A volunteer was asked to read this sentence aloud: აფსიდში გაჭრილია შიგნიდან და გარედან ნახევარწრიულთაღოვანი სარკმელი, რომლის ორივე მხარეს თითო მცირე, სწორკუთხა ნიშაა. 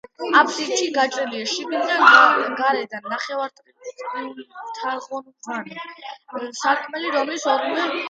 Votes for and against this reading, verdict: 0, 2, rejected